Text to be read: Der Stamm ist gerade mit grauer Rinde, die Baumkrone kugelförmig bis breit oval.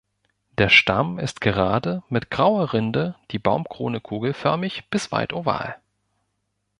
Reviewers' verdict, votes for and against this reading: rejected, 0, 2